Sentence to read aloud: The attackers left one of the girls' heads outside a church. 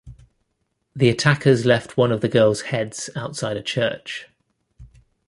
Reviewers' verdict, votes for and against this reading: accepted, 2, 1